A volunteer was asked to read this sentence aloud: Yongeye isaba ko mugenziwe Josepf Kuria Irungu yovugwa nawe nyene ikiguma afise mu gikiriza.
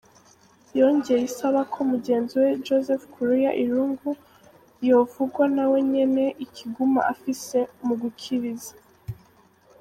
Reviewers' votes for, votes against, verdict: 0, 2, rejected